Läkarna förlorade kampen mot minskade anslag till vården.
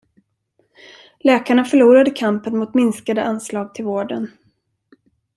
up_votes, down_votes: 2, 0